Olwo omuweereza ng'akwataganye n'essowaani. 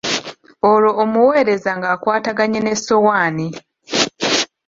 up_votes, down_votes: 2, 1